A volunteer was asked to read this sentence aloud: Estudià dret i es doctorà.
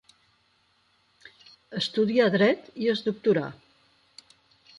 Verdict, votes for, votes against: accepted, 6, 0